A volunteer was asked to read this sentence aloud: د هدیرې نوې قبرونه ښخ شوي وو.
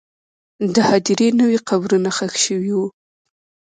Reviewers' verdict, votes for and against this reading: rejected, 1, 2